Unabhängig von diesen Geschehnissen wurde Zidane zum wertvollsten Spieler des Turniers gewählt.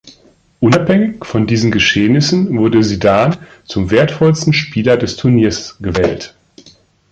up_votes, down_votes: 2, 0